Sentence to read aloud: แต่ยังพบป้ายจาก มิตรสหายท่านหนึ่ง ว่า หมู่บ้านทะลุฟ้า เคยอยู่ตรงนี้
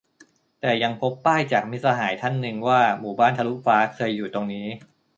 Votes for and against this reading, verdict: 2, 0, accepted